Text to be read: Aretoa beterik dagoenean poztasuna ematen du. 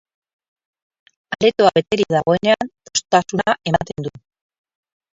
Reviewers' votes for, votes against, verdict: 0, 2, rejected